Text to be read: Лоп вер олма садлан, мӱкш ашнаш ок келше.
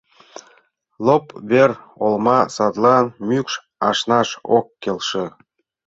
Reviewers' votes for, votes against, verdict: 2, 0, accepted